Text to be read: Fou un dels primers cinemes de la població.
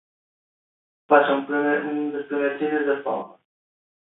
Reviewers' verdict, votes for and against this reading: rejected, 0, 2